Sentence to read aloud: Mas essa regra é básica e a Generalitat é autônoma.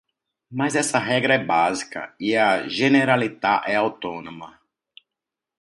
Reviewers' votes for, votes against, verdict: 2, 0, accepted